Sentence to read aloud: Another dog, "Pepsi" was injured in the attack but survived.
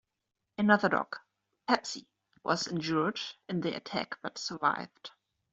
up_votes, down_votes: 2, 1